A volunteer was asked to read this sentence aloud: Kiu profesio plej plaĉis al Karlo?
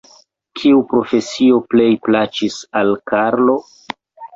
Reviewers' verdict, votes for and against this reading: rejected, 1, 2